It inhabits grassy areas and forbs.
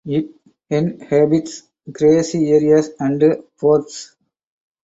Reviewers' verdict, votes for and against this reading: rejected, 2, 4